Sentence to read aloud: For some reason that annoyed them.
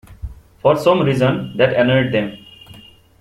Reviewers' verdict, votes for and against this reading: accepted, 2, 0